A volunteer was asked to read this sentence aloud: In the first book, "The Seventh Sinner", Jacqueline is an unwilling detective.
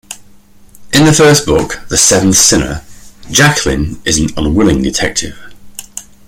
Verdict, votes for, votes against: accepted, 2, 0